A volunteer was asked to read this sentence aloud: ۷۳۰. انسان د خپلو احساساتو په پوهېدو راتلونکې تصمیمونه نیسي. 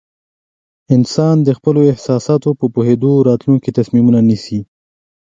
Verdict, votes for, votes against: rejected, 0, 2